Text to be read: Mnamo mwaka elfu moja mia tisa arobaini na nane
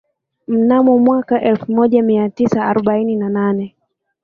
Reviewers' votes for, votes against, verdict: 2, 1, accepted